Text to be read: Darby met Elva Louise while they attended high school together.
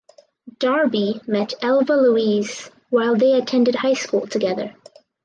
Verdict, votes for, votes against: accepted, 4, 0